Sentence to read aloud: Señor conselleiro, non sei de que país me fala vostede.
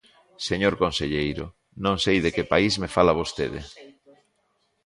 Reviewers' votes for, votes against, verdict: 2, 3, rejected